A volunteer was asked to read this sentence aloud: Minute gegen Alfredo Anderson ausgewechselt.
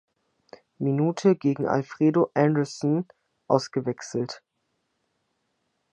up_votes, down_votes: 2, 0